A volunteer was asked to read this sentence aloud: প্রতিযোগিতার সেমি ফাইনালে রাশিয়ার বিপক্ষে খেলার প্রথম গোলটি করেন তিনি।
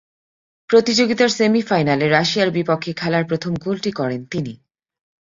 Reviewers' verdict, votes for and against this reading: accepted, 4, 0